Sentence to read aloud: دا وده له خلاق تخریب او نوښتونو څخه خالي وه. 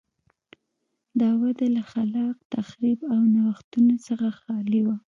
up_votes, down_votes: 2, 0